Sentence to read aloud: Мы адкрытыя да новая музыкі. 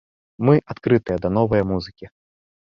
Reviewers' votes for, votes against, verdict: 2, 0, accepted